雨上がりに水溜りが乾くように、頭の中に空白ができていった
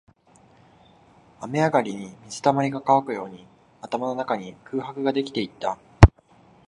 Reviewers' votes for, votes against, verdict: 7, 0, accepted